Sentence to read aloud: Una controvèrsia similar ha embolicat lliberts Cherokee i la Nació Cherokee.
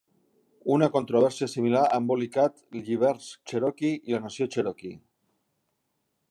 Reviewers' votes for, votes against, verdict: 2, 0, accepted